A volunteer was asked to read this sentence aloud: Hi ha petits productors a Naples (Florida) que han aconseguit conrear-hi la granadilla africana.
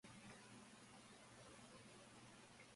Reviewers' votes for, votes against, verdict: 1, 2, rejected